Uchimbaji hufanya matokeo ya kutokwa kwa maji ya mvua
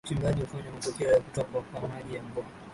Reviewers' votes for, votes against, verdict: 0, 2, rejected